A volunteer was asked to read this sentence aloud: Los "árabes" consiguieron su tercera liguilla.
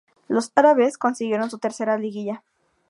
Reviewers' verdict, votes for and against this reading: accepted, 2, 0